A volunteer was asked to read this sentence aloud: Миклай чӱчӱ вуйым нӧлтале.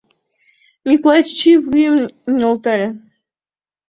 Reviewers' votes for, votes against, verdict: 2, 1, accepted